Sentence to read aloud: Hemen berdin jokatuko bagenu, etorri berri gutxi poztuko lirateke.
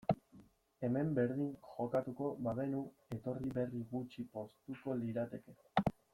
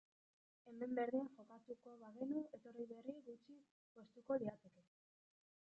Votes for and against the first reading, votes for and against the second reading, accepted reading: 2, 0, 1, 2, first